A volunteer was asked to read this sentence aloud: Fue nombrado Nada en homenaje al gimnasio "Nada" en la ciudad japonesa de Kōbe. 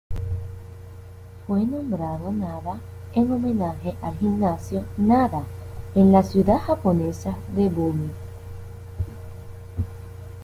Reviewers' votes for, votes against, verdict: 0, 2, rejected